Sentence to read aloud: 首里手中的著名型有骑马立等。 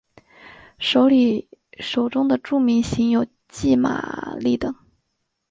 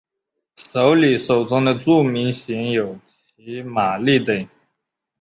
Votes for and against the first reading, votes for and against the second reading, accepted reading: 7, 3, 0, 2, first